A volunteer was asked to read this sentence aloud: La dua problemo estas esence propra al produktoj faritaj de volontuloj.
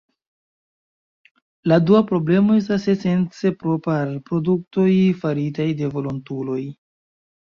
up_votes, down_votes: 2, 1